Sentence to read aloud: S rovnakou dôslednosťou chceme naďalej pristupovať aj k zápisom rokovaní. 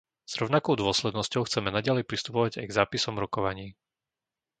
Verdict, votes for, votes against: accepted, 2, 0